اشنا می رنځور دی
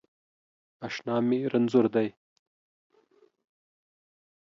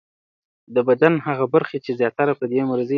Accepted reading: first